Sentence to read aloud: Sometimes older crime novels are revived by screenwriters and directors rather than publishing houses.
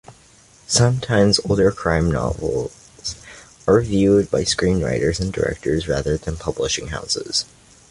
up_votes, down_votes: 2, 0